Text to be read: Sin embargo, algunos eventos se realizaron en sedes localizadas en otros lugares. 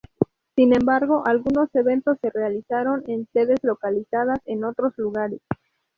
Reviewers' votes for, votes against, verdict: 2, 0, accepted